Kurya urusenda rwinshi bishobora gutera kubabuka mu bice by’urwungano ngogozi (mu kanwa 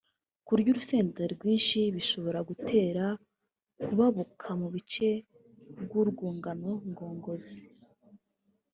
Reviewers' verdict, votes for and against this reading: rejected, 0, 3